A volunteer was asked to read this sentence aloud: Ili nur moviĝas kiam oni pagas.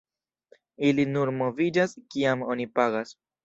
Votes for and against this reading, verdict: 2, 0, accepted